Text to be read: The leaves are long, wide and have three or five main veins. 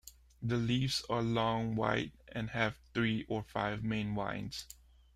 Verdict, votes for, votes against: rejected, 1, 2